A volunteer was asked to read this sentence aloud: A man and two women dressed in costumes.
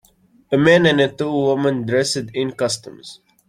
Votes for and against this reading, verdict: 0, 2, rejected